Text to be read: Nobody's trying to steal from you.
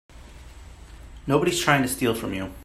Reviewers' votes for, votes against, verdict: 2, 0, accepted